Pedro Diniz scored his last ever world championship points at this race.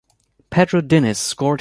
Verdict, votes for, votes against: rejected, 0, 2